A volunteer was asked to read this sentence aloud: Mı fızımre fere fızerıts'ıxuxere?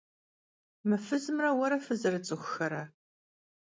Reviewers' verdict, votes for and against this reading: rejected, 0, 2